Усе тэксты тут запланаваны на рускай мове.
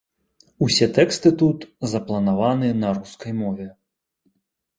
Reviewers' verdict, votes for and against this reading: accepted, 2, 0